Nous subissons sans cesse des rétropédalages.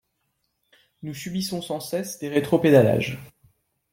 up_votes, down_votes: 2, 1